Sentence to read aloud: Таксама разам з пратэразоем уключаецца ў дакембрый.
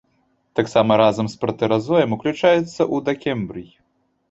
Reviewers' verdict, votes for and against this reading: rejected, 1, 2